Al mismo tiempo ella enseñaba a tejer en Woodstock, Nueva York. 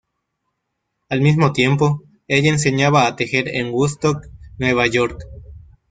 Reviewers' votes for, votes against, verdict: 0, 2, rejected